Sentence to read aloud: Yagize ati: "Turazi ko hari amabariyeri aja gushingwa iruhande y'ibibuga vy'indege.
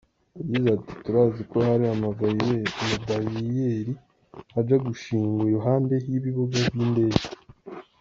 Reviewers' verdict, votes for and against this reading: rejected, 0, 2